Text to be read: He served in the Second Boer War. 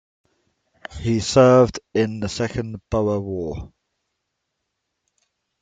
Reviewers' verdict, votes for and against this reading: accepted, 2, 0